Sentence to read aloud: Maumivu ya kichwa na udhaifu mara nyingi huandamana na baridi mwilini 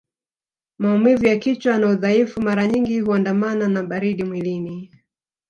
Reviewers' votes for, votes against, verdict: 3, 0, accepted